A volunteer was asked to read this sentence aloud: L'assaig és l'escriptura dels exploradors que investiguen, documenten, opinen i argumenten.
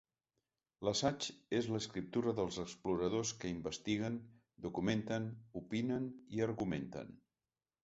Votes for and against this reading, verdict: 2, 0, accepted